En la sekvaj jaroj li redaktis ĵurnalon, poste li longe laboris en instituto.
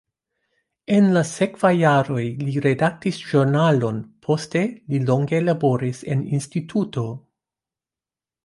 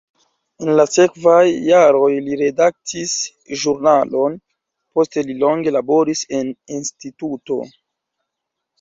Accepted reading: first